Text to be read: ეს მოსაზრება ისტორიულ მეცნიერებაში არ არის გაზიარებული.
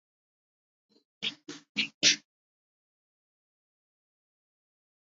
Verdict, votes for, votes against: rejected, 0, 2